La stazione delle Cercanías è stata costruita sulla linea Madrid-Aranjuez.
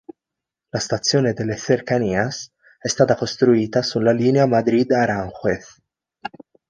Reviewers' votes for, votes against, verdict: 2, 0, accepted